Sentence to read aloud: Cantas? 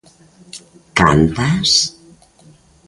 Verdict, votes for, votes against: accepted, 2, 0